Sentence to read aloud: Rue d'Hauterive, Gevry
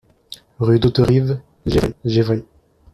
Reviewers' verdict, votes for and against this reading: rejected, 1, 2